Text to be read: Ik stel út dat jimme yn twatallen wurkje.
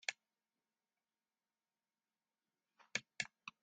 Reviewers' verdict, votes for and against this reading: rejected, 0, 2